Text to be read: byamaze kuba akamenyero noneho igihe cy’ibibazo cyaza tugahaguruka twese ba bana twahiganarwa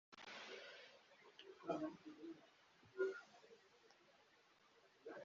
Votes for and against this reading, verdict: 0, 3, rejected